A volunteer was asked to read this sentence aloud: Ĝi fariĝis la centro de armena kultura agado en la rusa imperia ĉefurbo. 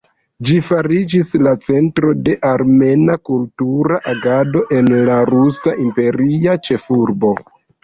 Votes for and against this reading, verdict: 0, 2, rejected